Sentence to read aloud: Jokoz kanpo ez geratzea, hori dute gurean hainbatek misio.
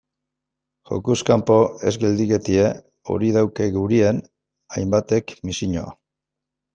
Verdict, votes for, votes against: rejected, 0, 2